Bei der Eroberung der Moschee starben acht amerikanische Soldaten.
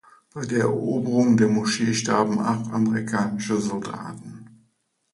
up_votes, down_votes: 2, 0